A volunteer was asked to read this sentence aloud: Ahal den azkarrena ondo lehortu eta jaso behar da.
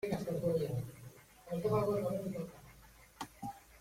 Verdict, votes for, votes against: rejected, 0, 2